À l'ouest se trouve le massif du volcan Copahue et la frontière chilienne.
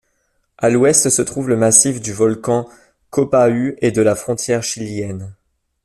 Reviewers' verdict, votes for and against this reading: rejected, 1, 2